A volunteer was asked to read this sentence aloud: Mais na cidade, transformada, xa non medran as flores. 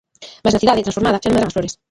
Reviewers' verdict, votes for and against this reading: rejected, 0, 2